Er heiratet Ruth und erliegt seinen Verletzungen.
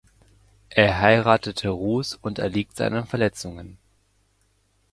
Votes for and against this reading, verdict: 0, 2, rejected